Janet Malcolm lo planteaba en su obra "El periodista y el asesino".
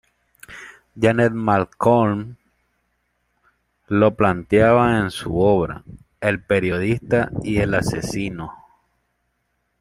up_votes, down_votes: 1, 2